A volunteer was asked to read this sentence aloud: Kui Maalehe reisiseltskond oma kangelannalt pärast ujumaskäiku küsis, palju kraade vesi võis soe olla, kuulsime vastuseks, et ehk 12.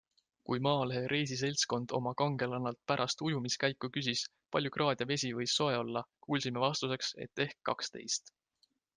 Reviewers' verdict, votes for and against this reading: rejected, 0, 2